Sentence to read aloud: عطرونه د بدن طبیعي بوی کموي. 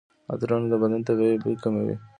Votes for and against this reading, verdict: 2, 1, accepted